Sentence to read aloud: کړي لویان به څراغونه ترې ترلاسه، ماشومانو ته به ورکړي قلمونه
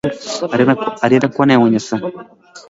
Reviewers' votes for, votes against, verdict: 2, 3, rejected